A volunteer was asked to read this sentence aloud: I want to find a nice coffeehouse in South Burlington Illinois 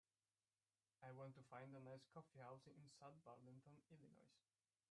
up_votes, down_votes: 1, 2